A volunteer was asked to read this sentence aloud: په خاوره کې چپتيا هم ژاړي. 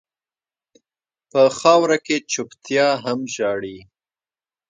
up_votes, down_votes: 0, 2